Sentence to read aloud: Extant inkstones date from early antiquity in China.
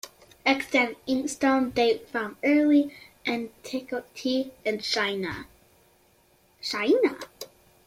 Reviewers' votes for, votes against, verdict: 0, 2, rejected